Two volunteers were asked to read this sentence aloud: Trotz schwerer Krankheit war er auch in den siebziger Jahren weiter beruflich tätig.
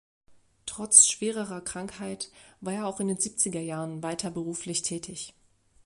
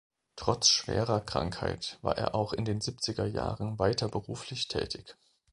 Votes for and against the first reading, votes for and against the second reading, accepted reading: 1, 2, 2, 0, second